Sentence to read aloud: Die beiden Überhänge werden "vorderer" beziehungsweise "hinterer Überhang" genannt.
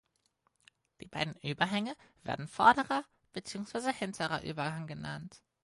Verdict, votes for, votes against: accepted, 4, 0